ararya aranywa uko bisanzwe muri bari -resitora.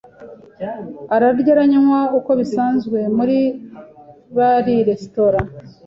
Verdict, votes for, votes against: accepted, 2, 0